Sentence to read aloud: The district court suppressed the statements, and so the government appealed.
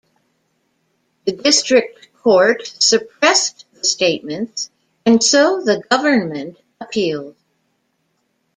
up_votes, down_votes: 2, 1